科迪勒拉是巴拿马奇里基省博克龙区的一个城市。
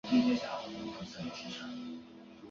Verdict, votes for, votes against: rejected, 0, 2